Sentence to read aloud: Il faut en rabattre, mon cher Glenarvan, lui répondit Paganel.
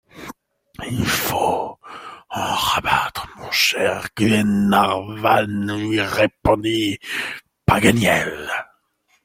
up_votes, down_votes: 2, 1